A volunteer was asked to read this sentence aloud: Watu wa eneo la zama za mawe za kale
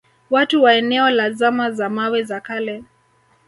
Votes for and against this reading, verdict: 2, 0, accepted